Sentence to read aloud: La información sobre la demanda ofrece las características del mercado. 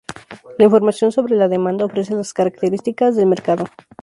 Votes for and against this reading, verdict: 2, 0, accepted